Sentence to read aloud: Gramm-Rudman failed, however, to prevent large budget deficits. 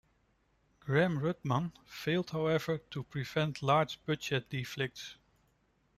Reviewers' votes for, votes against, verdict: 1, 2, rejected